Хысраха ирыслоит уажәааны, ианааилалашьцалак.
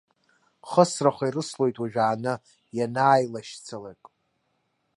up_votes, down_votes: 1, 2